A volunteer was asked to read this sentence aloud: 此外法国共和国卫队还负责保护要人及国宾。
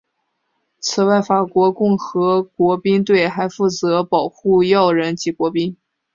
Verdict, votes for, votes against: accepted, 2, 1